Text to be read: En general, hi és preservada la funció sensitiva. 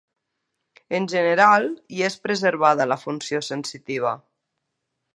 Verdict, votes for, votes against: accepted, 2, 0